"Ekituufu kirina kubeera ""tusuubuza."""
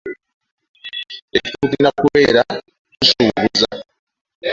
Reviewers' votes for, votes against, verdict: 0, 2, rejected